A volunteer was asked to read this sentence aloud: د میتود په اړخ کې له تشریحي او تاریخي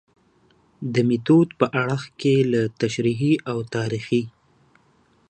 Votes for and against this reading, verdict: 2, 0, accepted